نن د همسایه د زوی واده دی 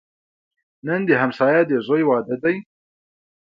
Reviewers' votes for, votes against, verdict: 3, 1, accepted